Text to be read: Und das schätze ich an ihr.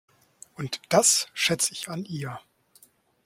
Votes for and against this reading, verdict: 2, 0, accepted